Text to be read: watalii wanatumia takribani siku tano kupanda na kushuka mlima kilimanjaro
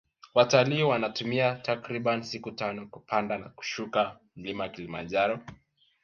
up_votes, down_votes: 3, 2